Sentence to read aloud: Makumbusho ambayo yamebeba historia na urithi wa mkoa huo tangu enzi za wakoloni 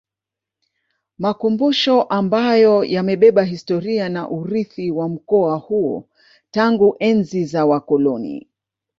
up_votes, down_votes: 0, 2